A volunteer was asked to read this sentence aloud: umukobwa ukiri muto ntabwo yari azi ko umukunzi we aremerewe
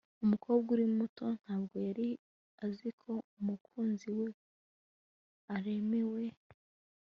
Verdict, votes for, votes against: rejected, 1, 2